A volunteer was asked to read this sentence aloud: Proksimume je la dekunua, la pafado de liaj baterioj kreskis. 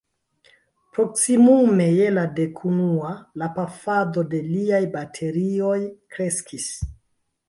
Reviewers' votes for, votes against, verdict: 2, 1, accepted